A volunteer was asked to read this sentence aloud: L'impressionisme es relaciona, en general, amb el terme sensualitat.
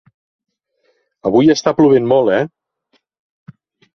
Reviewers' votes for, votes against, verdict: 0, 2, rejected